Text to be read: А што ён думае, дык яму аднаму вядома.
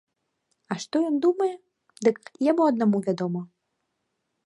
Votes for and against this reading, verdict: 2, 0, accepted